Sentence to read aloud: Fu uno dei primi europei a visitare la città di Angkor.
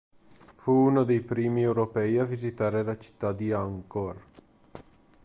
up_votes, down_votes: 2, 0